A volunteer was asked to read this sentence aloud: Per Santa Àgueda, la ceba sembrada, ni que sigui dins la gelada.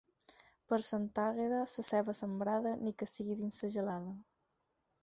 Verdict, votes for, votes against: rejected, 0, 4